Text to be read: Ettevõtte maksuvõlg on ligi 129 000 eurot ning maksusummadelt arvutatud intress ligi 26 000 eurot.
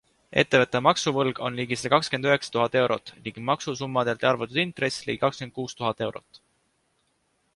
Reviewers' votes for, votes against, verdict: 0, 2, rejected